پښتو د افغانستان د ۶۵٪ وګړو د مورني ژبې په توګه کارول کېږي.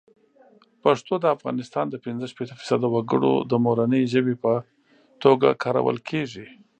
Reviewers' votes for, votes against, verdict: 0, 2, rejected